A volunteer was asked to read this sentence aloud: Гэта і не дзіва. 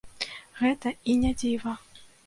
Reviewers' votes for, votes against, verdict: 2, 0, accepted